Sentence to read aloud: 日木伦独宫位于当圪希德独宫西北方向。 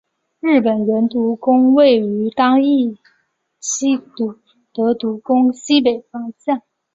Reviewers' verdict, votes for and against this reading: accepted, 2, 1